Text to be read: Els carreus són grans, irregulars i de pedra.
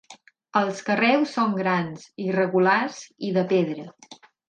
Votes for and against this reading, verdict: 8, 0, accepted